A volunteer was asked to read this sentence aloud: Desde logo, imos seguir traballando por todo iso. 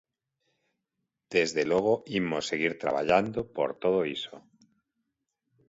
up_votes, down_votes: 2, 0